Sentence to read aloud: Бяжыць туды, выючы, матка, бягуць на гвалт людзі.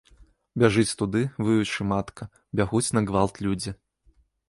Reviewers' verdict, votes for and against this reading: rejected, 1, 2